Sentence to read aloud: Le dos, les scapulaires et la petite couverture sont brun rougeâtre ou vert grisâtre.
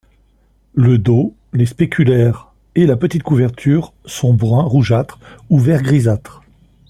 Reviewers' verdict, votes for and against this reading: rejected, 1, 2